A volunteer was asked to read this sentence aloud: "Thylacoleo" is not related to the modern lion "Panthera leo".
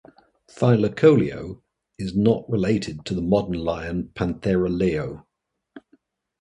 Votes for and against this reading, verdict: 2, 0, accepted